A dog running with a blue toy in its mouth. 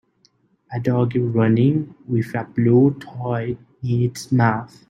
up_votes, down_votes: 2, 0